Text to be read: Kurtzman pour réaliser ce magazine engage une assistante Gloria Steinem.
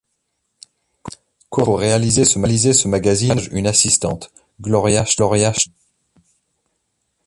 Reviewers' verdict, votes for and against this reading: rejected, 0, 2